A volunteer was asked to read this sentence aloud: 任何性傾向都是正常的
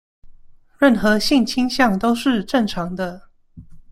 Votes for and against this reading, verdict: 2, 0, accepted